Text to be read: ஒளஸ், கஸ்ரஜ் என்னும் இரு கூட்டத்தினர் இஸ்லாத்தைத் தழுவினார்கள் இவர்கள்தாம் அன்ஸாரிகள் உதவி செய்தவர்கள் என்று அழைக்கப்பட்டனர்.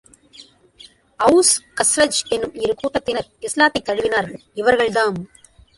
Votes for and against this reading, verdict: 0, 2, rejected